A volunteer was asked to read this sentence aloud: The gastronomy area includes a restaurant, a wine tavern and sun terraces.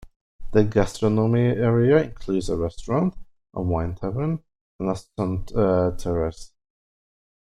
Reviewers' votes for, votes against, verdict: 0, 2, rejected